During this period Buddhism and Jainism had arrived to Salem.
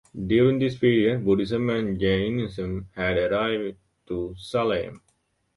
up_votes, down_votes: 0, 2